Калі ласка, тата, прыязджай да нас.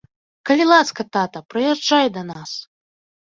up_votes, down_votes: 2, 0